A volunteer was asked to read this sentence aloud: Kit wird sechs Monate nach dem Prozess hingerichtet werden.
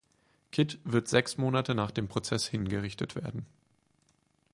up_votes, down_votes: 4, 0